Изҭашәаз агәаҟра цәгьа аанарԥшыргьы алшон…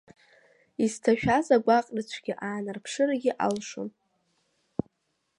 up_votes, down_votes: 2, 0